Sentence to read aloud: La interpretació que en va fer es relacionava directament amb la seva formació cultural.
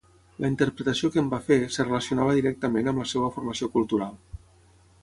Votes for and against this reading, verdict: 3, 6, rejected